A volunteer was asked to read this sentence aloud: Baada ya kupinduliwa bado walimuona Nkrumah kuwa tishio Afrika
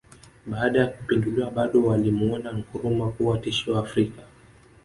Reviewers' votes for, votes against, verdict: 2, 1, accepted